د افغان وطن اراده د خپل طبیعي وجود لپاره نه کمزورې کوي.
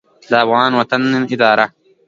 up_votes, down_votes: 2, 0